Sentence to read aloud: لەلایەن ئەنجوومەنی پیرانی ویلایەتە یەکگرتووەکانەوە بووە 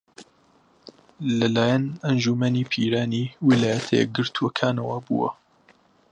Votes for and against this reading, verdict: 2, 0, accepted